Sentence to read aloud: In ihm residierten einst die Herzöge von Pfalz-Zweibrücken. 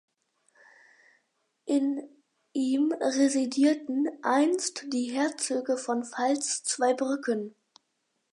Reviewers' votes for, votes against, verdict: 4, 0, accepted